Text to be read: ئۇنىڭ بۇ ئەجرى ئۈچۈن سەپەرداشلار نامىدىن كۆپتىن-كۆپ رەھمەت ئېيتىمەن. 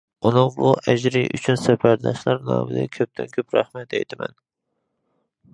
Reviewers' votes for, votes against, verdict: 2, 1, accepted